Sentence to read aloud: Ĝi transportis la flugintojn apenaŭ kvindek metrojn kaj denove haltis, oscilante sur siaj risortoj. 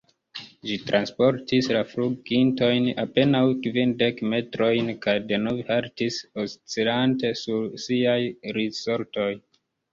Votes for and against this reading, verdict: 1, 2, rejected